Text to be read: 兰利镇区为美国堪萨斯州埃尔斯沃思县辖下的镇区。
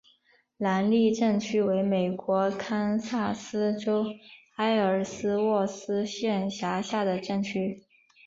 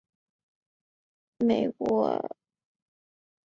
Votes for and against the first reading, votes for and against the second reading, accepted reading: 2, 1, 0, 6, first